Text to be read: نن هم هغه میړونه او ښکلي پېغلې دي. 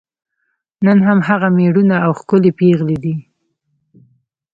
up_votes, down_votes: 1, 2